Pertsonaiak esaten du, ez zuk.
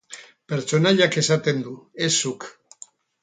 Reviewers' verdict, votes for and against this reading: accepted, 2, 0